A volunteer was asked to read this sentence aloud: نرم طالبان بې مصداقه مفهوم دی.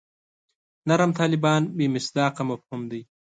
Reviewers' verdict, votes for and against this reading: accepted, 2, 0